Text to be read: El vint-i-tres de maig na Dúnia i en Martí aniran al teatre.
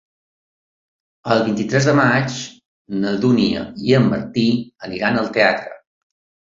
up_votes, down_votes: 3, 0